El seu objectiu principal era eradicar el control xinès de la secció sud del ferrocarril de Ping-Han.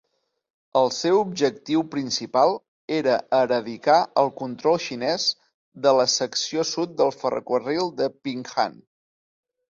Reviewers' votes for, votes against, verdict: 0, 2, rejected